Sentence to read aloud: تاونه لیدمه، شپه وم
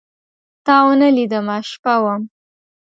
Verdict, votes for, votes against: accepted, 2, 0